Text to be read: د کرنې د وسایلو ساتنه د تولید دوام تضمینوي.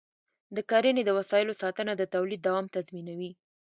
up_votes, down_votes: 2, 0